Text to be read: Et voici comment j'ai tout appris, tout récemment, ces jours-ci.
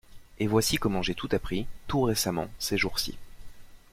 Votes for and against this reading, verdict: 2, 0, accepted